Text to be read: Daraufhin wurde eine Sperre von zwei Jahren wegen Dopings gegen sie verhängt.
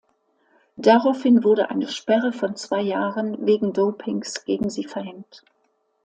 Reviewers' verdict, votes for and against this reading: accepted, 2, 0